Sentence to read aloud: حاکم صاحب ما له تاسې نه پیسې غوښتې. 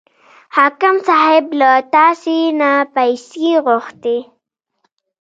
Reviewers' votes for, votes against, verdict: 0, 2, rejected